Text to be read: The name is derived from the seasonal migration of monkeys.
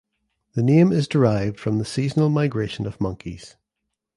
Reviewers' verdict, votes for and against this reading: accepted, 2, 0